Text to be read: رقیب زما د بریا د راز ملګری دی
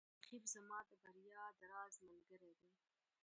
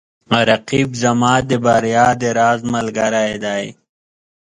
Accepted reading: second